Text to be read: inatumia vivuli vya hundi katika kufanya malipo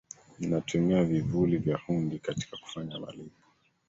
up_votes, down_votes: 0, 2